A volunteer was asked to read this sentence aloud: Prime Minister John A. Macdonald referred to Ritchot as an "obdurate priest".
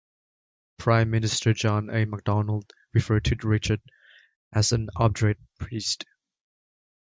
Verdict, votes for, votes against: rejected, 1, 2